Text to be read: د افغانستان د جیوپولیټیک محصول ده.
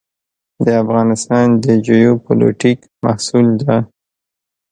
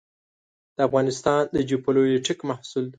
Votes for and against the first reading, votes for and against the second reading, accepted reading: 2, 0, 0, 2, first